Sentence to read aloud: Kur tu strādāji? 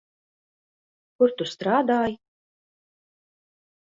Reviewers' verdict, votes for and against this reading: accepted, 2, 0